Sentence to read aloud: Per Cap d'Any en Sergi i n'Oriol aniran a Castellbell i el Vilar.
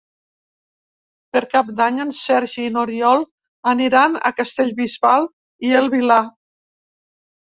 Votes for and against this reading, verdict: 1, 2, rejected